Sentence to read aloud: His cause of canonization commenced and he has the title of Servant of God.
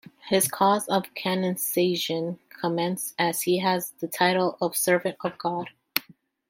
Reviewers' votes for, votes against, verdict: 1, 2, rejected